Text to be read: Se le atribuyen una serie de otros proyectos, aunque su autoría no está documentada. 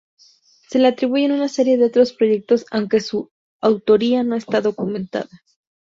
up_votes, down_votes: 2, 2